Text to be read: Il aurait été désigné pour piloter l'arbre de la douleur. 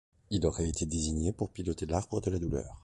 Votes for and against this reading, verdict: 1, 2, rejected